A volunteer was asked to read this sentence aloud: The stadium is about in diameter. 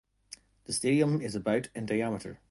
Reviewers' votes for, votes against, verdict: 2, 0, accepted